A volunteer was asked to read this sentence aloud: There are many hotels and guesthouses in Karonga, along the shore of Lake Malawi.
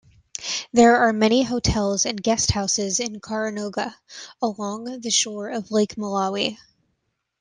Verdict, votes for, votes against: rejected, 0, 2